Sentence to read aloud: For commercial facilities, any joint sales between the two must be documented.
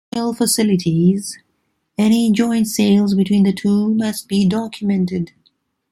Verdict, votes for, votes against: rejected, 0, 3